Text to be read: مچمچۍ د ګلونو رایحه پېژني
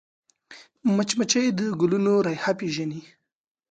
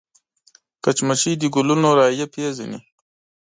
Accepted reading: first